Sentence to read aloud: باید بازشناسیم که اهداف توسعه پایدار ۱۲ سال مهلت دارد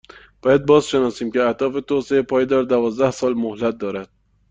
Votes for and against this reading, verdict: 0, 2, rejected